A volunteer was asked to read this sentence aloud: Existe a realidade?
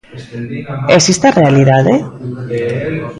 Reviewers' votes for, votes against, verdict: 0, 2, rejected